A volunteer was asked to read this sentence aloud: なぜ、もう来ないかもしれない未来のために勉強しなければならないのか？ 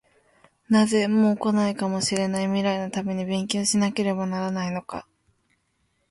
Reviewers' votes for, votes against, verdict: 2, 0, accepted